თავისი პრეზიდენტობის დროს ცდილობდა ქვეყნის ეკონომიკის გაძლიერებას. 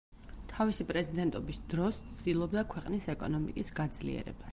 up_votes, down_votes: 2, 4